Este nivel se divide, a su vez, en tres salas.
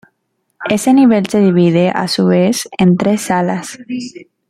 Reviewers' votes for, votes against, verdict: 1, 2, rejected